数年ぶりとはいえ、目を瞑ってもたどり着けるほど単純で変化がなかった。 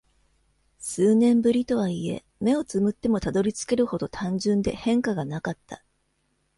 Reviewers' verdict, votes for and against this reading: accepted, 2, 0